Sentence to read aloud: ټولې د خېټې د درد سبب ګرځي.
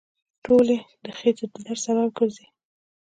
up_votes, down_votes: 2, 0